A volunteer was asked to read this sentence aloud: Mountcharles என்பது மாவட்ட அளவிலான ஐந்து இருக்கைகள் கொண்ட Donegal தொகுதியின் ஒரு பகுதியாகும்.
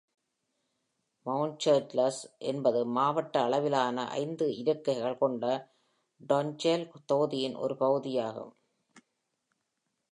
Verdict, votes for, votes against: rejected, 1, 2